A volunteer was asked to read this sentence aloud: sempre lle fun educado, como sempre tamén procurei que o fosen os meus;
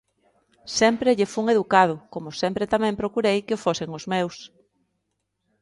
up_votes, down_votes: 2, 0